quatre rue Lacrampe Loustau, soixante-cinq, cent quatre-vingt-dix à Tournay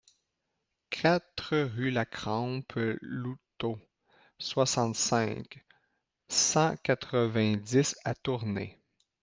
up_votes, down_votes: 0, 2